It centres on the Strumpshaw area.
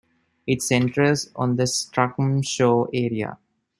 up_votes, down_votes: 1, 2